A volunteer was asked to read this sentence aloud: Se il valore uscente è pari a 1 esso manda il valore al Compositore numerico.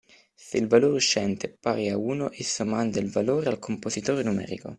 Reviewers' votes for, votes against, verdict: 0, 2, rejected